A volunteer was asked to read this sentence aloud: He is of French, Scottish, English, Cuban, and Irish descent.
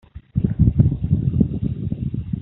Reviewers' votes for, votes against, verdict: 0, 3, rejected